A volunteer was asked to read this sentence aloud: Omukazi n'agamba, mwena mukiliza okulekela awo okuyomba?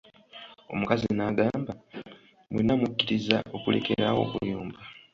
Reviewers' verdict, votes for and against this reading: accepted, 2, 1